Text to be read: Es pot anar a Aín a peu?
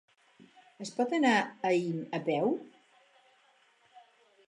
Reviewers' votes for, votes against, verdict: 4, 0, accepted